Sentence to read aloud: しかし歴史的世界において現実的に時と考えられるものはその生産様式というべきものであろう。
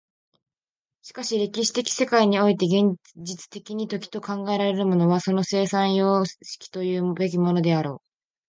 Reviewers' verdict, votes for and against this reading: accepted, 2, 1